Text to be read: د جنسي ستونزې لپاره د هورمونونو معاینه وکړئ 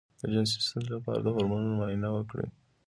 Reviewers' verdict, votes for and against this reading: accepted, 2, 0